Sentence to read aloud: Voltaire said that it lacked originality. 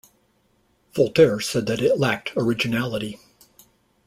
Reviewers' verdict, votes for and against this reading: accepted, 2, 0